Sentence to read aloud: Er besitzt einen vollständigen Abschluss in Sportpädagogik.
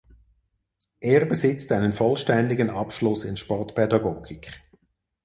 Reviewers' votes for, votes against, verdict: 4, 0, accepted